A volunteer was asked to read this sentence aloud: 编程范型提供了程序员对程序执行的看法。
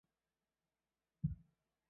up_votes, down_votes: 0, 3